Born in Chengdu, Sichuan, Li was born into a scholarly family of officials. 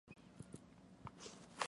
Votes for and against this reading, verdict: 0, 2, rejected